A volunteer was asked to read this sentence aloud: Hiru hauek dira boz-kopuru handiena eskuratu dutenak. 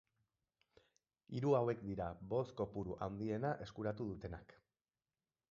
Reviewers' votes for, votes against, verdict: 4, 0, accepted